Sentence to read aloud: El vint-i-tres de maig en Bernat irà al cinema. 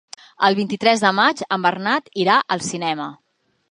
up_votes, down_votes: 3, 0